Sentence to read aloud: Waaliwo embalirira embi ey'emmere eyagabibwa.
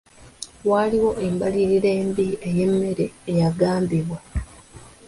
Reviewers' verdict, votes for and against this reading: rejected, 0, 2